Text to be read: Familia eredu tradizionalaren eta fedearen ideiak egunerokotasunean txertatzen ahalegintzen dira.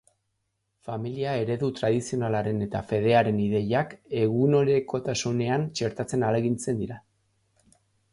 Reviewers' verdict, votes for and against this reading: rejected, 1, 2